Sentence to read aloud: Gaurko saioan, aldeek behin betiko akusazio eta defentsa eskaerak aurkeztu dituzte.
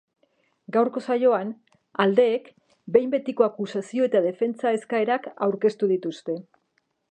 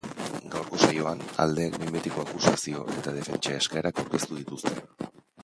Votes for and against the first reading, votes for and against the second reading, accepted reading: 3, 1, 0, 2, first